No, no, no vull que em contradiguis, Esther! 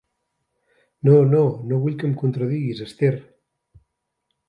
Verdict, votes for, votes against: accepted, 2, 0